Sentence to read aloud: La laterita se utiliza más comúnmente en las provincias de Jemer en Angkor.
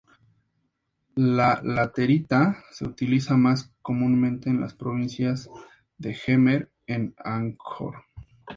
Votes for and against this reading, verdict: 2, 0, accepted